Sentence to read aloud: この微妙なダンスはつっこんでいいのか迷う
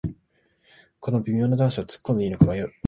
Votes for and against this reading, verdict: 0, 2, rejected